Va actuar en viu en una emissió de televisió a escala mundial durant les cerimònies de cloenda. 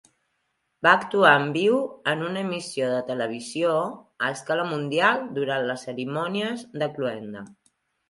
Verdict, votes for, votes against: rejected, 1, 2